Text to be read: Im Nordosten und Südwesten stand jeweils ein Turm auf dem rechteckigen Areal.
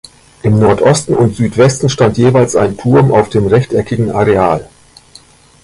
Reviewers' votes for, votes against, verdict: 2, 0, accepted